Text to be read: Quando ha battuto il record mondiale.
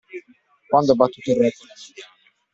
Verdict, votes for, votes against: rejected, 1, 2